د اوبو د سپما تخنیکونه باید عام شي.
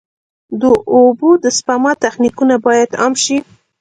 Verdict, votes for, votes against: accepted, 2, 1